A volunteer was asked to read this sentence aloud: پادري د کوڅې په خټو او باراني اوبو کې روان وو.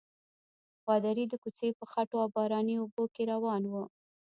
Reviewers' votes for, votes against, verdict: 0, 3, rejected